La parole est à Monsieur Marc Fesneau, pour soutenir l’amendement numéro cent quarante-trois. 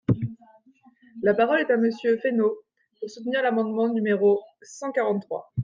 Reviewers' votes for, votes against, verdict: 0, 2, rejected